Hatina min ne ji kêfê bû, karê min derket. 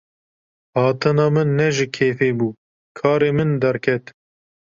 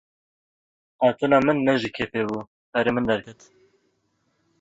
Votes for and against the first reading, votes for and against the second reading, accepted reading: 2, 0, 1, 2, first